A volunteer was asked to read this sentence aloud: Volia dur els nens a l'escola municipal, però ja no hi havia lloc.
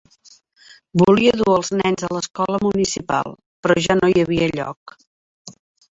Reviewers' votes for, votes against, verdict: 0, 2, rejected